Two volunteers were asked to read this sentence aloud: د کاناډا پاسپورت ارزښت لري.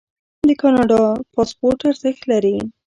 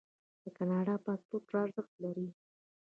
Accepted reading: first